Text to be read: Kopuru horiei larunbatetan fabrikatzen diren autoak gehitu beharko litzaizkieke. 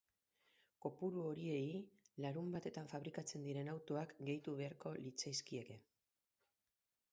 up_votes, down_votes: 2, 0